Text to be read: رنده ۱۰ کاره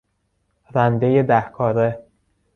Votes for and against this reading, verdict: 0, 2, rejected